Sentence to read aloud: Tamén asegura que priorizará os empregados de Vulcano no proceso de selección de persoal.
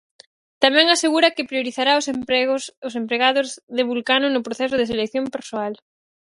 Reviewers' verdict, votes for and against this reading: rejected, 0, 4